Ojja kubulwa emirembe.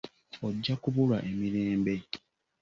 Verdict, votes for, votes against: accepted, 2, 0